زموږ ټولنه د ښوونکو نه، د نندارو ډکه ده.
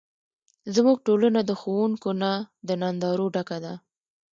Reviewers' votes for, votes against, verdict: 1, 2, rejected